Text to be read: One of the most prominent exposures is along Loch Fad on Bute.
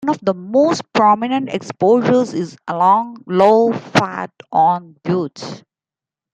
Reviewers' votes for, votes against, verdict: 1, 2, rejected